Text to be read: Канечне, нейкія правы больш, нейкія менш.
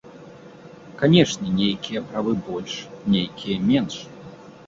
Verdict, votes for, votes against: accepted, 2, 1